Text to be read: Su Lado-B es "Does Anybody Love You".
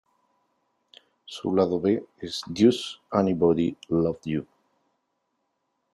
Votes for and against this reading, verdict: 0, 2, rejected